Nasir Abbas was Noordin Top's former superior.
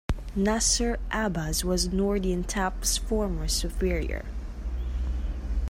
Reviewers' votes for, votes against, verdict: 2, 0, accepted